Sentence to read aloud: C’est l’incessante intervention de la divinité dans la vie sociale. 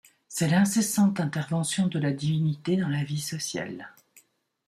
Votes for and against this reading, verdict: 3, 0, accepted